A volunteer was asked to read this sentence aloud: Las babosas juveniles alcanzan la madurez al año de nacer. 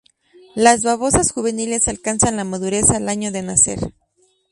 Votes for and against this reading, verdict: 2, 0, accepted